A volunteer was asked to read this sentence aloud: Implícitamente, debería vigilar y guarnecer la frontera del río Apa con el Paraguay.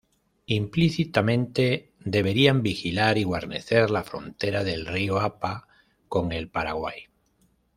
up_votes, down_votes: 1, 2